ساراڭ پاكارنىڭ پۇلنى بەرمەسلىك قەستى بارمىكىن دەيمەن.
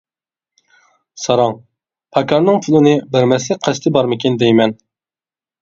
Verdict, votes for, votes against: rejected, 0, 2